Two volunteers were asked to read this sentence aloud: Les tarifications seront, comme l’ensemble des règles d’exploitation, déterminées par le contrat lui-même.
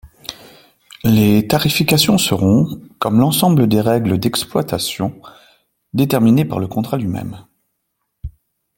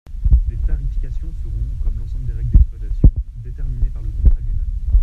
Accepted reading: first